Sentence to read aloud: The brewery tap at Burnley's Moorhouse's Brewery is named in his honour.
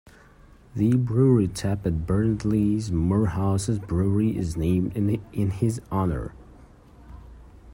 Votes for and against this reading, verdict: 1, 2, rejected